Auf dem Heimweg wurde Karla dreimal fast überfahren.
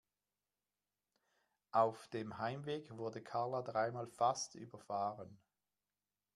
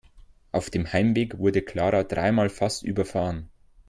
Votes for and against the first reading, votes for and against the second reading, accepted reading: 2, 0, 0, 2, first